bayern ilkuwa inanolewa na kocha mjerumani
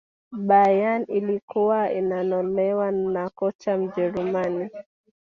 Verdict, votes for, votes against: rejected, 1, 2